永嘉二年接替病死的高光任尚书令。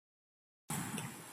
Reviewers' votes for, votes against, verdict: 0, 3, rejected